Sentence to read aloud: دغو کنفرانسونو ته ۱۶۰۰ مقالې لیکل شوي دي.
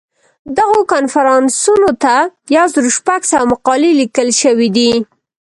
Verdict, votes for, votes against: rejected, 0, 2